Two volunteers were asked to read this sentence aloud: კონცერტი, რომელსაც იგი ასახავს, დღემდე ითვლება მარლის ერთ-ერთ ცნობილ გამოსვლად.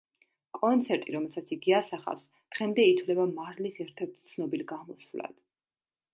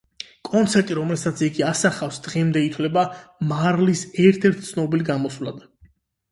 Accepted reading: first